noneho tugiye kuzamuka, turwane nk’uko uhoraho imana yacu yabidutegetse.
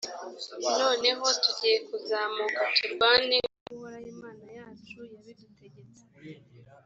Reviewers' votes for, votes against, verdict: 1, 2, rejected